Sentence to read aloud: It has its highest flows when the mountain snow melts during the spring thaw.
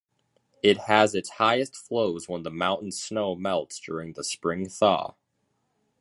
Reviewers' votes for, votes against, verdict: 2, 0, accepted